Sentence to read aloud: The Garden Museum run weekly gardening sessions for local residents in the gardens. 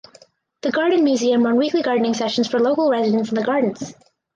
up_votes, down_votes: 4, 0